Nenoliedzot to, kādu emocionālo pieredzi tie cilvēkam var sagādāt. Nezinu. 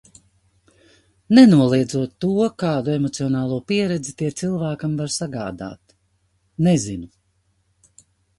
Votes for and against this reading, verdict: 2, 0, accepted